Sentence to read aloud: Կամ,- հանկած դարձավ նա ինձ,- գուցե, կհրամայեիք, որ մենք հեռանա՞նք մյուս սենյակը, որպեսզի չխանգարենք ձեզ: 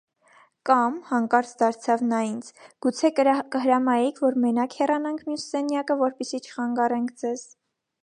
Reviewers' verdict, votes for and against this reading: rejected, 1, 2